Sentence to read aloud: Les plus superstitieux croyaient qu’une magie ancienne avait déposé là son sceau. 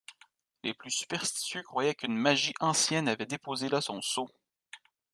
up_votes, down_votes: 2, 0